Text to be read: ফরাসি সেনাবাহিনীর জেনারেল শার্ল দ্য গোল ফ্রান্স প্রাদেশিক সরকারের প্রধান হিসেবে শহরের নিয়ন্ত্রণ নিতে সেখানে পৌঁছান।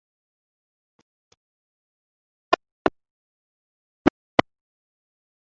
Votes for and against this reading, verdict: 0, 2, rejected